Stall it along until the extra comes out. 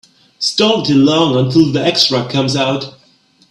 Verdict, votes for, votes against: rejected, 0, 2